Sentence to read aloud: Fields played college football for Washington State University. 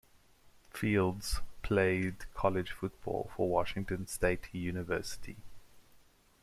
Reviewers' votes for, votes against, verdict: 2, 0, accepted